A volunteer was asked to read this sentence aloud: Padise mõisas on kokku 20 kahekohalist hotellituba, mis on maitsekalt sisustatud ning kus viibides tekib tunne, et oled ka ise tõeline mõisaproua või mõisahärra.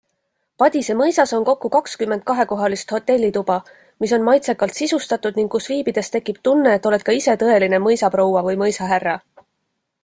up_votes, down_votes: 0, 2